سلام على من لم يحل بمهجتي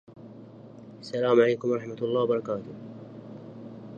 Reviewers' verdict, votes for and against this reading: rejected, 0, 2